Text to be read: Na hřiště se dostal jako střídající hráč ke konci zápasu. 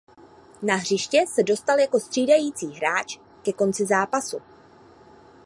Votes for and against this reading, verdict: 2, 0, accepted